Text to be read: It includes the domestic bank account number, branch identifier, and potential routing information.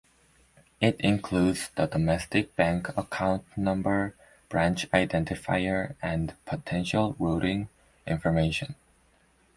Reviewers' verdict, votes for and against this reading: accepted, 2, 0